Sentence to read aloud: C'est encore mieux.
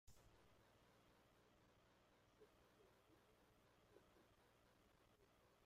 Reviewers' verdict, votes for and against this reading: rejected, 0, 2